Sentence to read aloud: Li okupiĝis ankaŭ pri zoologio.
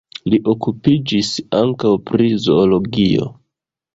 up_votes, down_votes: 2, 1